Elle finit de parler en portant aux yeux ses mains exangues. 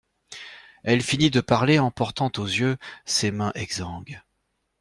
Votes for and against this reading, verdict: 2, 0, accepted